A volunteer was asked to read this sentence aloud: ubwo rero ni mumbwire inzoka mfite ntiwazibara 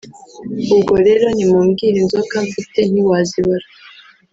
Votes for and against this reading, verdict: 1, 2, rejected